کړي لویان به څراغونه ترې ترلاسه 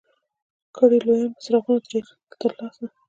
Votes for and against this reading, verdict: 1, 2, rejected